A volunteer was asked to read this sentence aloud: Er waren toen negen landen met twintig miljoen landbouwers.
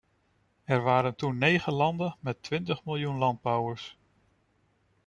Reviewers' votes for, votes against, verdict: 2, 0, accepted